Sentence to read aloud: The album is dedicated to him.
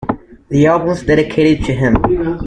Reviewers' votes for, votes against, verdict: 0, 2, rejected